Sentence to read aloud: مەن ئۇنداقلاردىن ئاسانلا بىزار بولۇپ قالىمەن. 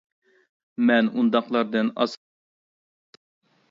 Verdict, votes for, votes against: rejected, 0, 2